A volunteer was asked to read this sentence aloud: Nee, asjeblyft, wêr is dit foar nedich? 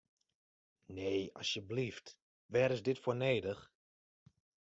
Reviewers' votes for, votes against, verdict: 2, 1, accepted